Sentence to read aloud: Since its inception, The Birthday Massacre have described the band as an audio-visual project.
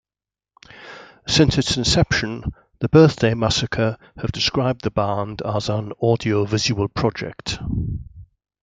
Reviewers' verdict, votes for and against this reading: accepted, 2, 0